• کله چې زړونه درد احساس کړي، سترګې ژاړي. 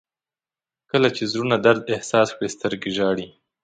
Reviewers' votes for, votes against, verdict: 2, 0, accepted